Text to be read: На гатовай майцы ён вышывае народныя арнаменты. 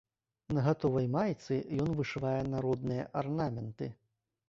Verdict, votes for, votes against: accepted, 2, 0